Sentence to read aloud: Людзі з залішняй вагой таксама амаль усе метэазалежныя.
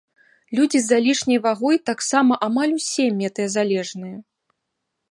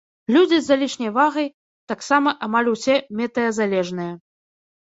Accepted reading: first